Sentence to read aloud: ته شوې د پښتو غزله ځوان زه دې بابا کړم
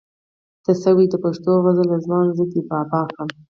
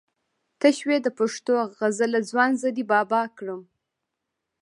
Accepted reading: first